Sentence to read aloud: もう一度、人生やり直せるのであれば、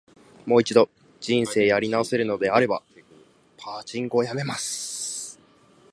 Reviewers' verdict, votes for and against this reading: rejected, 1, 2